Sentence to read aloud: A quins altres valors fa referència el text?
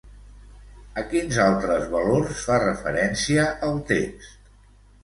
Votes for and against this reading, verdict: 1, 2, rejected